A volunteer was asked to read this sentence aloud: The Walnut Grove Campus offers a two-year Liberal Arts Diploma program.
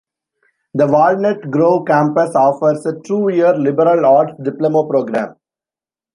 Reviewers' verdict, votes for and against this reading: rejected, 1, 2